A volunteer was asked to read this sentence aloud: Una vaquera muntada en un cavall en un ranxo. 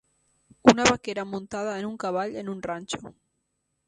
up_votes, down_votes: 3, 0